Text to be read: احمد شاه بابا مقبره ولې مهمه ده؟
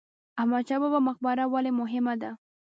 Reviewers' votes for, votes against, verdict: 1, 2, rejected